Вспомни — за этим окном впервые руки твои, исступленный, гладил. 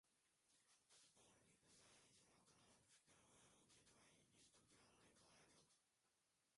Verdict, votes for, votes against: rejected, 0, 2